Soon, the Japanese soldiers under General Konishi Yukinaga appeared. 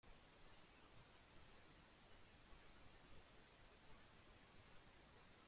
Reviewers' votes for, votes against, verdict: 0, 2, rejected